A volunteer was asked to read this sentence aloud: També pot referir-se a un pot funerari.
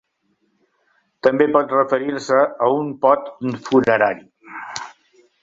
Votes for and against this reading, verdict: 1, 2, rejected